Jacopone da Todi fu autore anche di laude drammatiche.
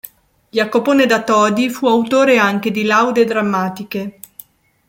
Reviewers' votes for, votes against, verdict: 2, 0, accepted